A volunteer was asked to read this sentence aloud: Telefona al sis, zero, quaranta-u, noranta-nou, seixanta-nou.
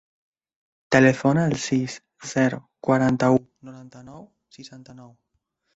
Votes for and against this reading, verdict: 0, 2, rejected